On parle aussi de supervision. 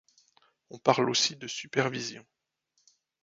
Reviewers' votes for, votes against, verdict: 2, 1, accepted